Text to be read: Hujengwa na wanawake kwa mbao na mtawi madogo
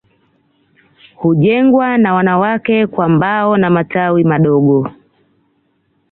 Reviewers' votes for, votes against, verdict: 1, 2, rejected